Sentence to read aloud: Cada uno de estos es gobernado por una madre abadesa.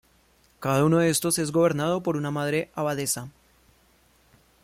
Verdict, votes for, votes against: accepted, 2, 0